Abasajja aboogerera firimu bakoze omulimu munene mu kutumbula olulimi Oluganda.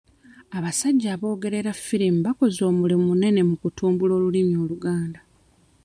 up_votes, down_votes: 2, 0